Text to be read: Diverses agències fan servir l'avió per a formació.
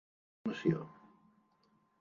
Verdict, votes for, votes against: rejected, 0, 3